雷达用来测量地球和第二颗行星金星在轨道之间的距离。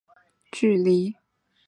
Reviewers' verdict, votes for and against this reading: rejected, 0, 2